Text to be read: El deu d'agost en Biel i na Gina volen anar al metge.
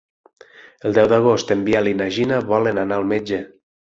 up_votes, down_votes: 9, 3